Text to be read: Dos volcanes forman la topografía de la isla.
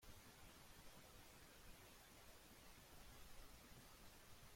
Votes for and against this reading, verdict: 0, 2, rejected